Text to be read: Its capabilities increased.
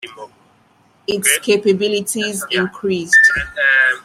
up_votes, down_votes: 2, 1